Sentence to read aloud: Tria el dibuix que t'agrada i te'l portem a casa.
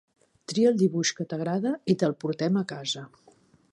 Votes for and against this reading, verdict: 3, 0, accepted